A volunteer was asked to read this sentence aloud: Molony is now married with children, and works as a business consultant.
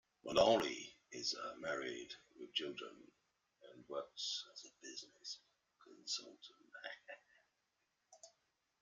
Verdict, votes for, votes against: rejected, 1, 2